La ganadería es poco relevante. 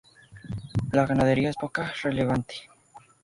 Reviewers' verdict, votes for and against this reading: rejected, 0, 2